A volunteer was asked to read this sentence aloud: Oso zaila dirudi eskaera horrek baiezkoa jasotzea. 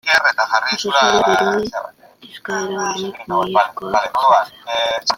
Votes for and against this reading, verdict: 0, 2, rejected